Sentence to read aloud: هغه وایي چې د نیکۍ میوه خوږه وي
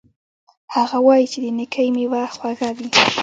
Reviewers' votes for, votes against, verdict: 1, 2, rejected